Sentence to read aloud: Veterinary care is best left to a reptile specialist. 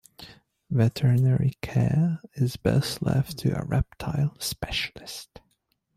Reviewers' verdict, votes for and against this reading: accepted, 2, 0